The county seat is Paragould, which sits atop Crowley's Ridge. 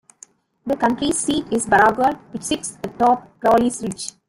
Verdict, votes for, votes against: rejected, 0, 2